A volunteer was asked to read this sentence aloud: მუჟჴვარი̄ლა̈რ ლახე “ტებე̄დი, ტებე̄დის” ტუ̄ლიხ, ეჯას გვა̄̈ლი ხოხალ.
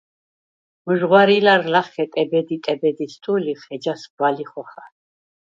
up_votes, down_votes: 0, 4